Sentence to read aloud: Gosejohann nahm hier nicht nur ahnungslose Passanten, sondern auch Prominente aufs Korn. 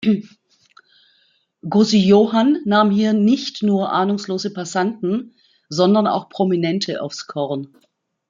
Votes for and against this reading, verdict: 2, 0, accepted